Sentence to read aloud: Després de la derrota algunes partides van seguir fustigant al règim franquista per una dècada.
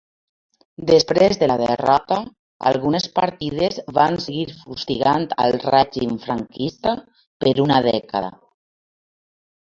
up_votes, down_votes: 2, 1